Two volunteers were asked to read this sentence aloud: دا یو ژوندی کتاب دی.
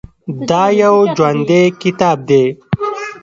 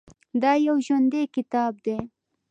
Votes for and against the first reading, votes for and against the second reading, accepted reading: 1, 2, 2, 0, second